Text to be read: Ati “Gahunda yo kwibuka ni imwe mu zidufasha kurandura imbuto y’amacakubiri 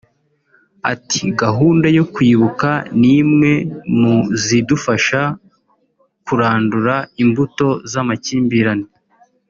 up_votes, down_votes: 0, 3